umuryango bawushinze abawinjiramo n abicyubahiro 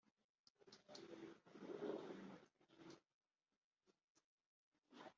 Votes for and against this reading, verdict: 1, 2, rejected